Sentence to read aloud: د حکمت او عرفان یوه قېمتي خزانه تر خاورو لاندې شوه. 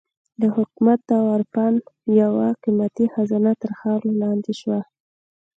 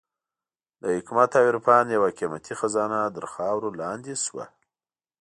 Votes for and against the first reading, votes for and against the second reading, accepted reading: 2, 0, 1, 2, first